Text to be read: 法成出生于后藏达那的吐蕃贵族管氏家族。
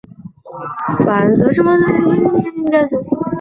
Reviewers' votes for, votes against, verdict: 0, 2, rejected